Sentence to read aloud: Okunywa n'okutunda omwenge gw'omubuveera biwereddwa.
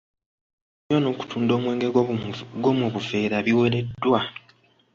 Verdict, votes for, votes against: rejected, 0, 2